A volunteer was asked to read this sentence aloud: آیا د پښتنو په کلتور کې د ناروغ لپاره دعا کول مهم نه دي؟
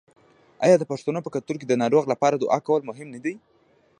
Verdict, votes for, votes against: rejected, 0, 2